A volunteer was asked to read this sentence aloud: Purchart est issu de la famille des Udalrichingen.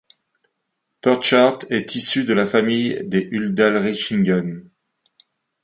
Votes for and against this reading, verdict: 2, 0, accepted